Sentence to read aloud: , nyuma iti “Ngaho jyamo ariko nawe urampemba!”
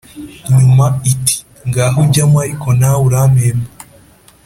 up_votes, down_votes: 2, 0